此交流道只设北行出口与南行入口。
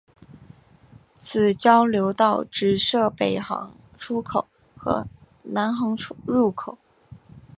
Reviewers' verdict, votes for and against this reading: rejected, 0, 2